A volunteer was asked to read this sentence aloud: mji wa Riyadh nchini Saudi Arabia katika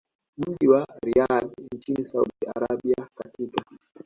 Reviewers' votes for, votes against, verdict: 1, 2, rejected